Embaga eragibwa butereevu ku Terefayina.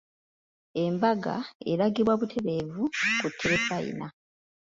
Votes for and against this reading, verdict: 2, 0, accepted